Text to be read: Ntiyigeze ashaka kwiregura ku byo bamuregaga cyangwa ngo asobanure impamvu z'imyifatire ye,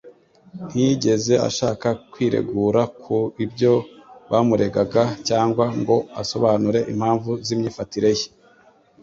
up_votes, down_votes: 2, 0